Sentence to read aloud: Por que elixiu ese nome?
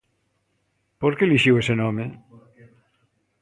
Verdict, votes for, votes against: accepted, 2, 0